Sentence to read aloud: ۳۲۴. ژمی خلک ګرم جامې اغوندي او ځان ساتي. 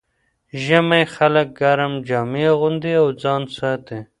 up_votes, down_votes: 0, 2